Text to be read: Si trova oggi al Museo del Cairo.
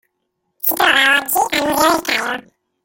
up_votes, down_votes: 0, 2